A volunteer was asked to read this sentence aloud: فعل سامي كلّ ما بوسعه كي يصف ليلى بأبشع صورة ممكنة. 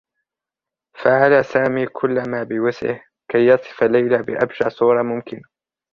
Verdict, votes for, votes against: accepted, 2, 0